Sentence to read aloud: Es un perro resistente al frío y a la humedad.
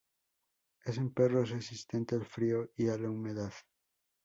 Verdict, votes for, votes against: accepted, 2, 0